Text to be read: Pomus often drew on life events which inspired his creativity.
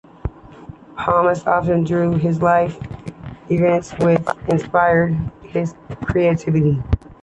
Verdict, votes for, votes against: accepted, 2, 0